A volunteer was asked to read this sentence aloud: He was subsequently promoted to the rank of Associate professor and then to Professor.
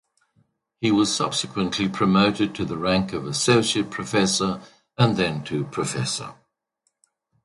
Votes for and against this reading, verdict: 2, 0, accepted